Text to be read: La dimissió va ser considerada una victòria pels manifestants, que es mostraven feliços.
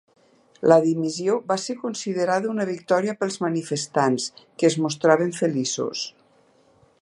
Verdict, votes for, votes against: accepted, 2, 0